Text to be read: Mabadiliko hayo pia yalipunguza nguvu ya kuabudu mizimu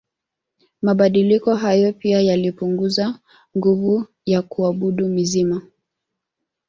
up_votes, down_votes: 2, 0